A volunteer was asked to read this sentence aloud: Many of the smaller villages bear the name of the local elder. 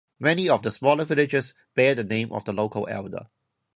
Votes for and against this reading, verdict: 0, 2, rejected